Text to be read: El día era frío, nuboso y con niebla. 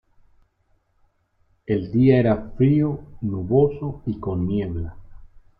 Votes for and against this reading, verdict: 2, 0, accepted